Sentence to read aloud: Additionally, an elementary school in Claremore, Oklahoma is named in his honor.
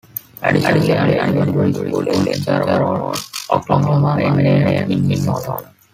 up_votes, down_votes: 0, 2